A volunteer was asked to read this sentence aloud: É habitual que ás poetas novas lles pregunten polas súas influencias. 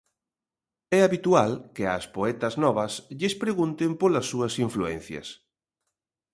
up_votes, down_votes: 2, 0